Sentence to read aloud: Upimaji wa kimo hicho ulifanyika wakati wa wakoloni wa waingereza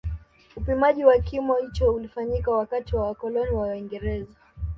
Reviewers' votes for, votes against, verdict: 2, 0, accepted